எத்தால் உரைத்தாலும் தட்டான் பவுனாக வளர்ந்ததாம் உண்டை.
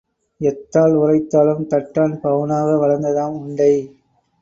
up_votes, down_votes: 1, 2